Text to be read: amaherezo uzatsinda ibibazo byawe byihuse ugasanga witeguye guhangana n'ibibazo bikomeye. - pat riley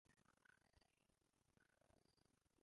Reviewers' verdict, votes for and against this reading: rejected, 0, 2